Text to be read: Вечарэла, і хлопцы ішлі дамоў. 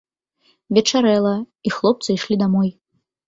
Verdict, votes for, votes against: rejected, 0, 2